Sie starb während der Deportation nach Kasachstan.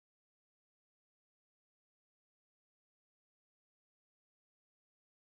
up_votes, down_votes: 0, 4